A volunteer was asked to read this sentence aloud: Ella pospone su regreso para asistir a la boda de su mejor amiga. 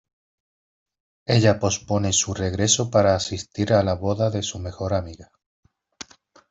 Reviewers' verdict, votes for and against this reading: accepted, 2, 0